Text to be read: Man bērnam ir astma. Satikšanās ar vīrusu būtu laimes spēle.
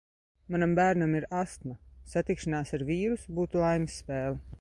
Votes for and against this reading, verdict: 0, 2, rejected